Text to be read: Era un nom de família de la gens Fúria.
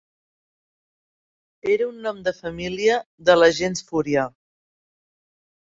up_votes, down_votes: 2, 0